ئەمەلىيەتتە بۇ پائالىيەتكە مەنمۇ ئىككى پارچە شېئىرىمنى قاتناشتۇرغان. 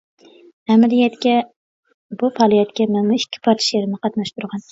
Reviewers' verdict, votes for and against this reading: rejected, 0, 2